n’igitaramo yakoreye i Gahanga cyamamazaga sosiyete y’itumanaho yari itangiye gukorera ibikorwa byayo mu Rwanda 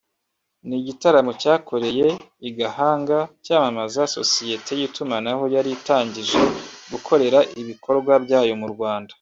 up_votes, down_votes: 0, 2